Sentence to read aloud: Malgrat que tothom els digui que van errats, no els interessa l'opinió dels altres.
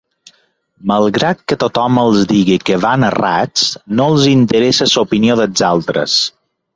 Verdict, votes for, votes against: rejected, 1, 2